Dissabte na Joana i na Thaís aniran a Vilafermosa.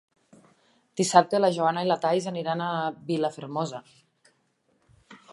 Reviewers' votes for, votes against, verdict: 3, 0, accepted